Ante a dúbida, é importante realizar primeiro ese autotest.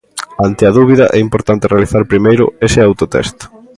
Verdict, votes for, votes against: accepted, 3, 0